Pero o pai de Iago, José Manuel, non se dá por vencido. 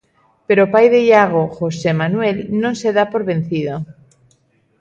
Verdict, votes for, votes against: accepted, 2, 0